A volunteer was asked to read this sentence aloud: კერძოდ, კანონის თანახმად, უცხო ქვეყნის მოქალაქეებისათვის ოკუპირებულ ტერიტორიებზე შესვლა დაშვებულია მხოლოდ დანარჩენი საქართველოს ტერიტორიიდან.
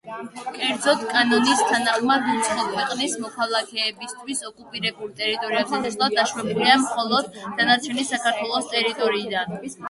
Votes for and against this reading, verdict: 2, 0, accepted